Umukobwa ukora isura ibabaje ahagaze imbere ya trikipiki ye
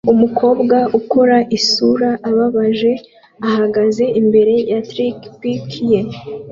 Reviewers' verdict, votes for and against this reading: accepted, 2, 1